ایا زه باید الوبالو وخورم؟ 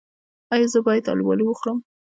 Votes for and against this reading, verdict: 0, 2, rejected